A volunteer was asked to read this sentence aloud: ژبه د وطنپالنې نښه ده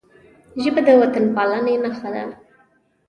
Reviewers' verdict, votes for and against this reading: accepted, 2, 0